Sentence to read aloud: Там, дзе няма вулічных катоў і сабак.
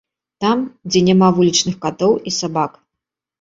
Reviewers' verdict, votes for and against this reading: accepted, 2, 0